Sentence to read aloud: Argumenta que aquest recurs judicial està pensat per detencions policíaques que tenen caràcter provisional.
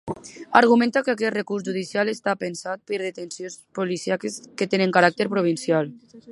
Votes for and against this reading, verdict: 0, 2, rejected